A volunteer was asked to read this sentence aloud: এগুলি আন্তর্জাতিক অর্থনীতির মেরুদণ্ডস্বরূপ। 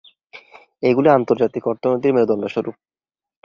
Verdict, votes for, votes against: rejected, 1, 2